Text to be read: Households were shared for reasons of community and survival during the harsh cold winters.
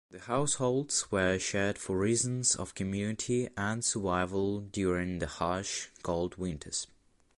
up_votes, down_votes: 2, 1